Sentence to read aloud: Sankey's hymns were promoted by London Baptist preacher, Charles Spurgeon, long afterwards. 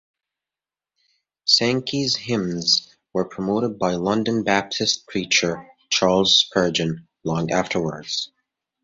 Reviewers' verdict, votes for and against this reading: accepted, 2, 0